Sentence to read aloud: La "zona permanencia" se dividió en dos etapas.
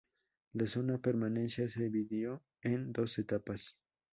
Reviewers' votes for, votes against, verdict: 4, 0, accepted